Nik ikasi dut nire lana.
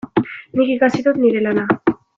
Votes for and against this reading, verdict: 2, 0, accepted